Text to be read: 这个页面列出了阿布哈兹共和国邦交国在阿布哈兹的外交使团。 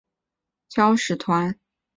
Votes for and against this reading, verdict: 0, 4, rejected